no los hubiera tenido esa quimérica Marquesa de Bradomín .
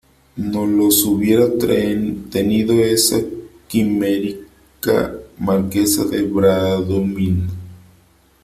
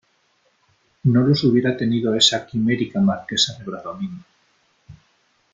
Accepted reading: second